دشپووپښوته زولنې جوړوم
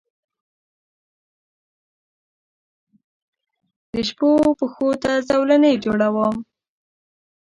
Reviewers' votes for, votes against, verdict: 1, 2, rejected